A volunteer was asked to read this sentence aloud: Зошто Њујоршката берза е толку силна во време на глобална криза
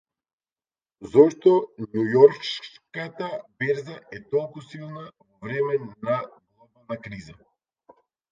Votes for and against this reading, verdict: 0, 2, rejected